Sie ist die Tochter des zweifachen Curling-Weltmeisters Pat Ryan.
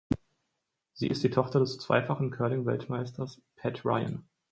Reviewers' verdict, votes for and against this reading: accepted, 4, 0